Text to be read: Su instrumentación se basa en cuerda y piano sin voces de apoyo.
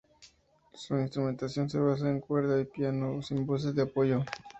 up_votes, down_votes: 2, 0